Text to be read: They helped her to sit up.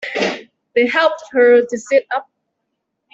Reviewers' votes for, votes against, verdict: 2, 0, accepted